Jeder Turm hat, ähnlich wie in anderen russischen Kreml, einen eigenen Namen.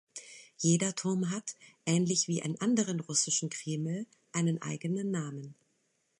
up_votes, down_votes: 2, 0